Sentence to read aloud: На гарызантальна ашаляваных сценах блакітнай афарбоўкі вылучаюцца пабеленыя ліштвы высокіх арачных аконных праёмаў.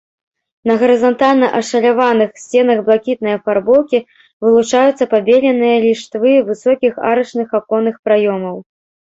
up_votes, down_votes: 1, 2